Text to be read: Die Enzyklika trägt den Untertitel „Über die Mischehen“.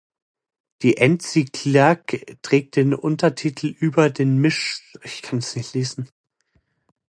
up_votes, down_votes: 0, 2